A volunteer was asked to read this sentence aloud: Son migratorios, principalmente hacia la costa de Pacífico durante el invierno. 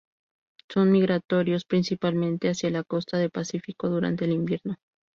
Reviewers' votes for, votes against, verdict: 2, 0, accepted